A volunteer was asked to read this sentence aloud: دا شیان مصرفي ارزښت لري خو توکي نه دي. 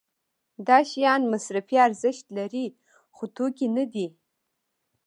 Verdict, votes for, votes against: accepted, 2, 0